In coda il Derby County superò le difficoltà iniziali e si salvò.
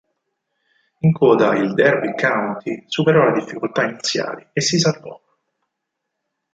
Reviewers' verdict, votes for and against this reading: accepted, 4, 0